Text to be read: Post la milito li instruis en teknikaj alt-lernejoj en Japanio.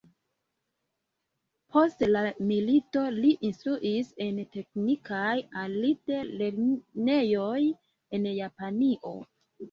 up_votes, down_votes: 2, 0